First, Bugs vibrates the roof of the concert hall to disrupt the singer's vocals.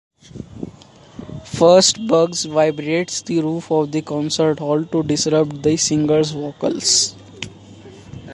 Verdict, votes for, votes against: accepted, 2, 0